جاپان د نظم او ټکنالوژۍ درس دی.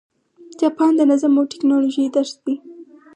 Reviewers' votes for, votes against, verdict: 4, 0, accepted